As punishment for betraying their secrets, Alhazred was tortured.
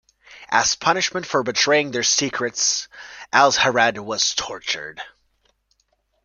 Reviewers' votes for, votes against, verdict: 2, 0, accepted